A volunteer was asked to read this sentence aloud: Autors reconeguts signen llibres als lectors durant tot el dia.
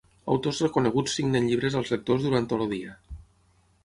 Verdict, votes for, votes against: rejected, 0, 6